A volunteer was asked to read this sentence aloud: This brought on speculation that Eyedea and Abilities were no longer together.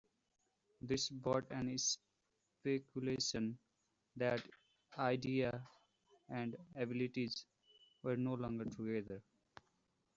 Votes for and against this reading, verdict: 1, 2, rejected